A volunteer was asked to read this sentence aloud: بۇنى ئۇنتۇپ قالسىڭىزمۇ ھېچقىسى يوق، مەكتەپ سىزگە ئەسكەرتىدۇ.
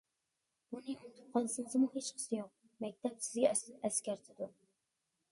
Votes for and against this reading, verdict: 1, 2, rejected